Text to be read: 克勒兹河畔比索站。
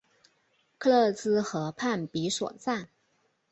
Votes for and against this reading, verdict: 3, 0, accepted